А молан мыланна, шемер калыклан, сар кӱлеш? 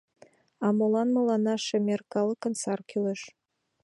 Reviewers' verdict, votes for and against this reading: rejected, 1, 2